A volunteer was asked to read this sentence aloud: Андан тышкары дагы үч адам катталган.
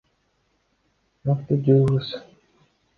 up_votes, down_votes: 0, 2